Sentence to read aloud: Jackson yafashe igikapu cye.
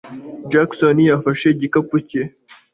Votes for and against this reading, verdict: 2, 0, accepted